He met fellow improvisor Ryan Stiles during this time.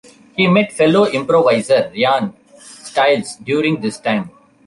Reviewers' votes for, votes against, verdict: 1, 2, rejected